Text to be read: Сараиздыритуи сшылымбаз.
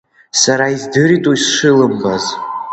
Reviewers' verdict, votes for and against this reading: accepted, 2, 0